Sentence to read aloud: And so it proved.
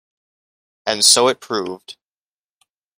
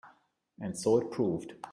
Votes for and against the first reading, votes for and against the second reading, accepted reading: 2, 0, 1, 2, first